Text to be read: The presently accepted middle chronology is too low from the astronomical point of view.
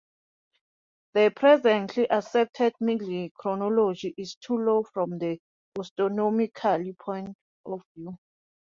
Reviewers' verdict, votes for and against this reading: accepted, 2, 0